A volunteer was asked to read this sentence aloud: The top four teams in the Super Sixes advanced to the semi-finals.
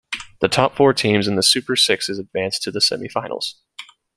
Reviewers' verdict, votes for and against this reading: accepted, 2, 0